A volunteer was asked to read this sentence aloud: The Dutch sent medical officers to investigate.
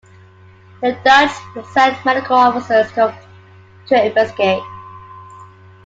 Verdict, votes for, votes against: rejected, 0, 2